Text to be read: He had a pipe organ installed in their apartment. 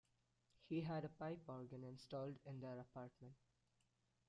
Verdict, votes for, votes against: rejected, 0, 2